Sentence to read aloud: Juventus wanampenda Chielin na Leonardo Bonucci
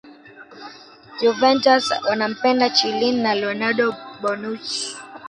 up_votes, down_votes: 1, 2